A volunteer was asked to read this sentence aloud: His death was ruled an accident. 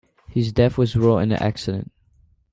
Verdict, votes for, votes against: rejected, 0, 2